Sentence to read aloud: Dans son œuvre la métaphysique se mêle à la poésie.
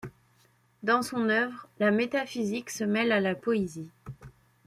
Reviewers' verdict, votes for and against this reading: accepted, 2, 1